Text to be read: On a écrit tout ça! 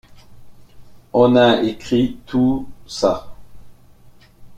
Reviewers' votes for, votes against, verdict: 0, 2, rejected